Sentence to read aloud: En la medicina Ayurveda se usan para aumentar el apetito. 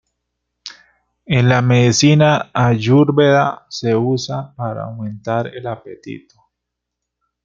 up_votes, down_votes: 1, 2